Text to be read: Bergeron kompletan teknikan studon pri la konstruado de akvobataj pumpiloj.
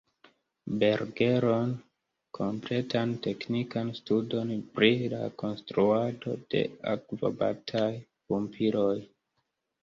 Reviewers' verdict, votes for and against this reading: accepted, 2, 1